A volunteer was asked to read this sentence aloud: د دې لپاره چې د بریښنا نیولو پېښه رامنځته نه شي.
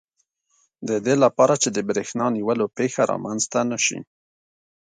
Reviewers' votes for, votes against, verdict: 2, 0, accepted